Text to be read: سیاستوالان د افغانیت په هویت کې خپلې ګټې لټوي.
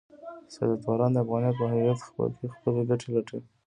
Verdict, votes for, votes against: rejected, 1, 2